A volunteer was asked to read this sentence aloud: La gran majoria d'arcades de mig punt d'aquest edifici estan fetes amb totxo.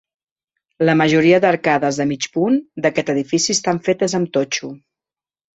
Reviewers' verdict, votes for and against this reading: rejected, 1, 2